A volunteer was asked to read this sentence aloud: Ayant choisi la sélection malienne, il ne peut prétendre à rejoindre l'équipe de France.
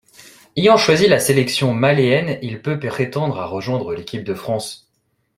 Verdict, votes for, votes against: rejected, 1, 2